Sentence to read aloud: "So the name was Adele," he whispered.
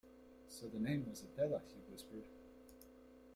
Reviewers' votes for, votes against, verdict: 1, 2, rejected